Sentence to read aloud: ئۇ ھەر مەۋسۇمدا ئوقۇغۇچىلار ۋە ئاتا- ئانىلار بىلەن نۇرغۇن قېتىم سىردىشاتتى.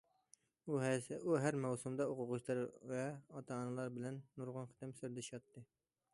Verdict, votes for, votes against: rejected, 1, 2